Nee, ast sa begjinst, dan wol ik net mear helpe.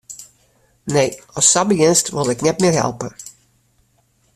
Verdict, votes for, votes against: rejected, 1, 2